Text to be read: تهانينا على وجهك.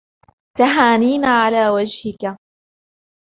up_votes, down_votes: 1, 2